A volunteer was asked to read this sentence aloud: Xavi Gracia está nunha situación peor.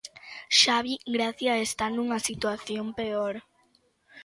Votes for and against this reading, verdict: 2, 0, accepted